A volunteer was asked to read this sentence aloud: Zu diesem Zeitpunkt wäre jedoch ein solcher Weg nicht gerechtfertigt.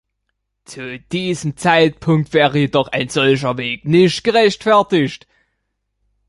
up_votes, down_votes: 1, 2